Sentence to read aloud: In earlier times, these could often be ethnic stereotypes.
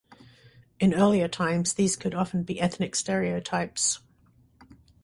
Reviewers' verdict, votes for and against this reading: rejected, 0, 2